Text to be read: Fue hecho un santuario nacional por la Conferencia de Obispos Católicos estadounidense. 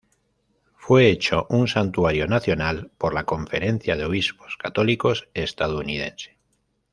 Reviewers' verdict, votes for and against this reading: accepted, 2, 0